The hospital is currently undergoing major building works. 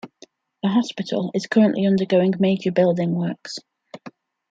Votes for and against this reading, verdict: 1, 2, rejected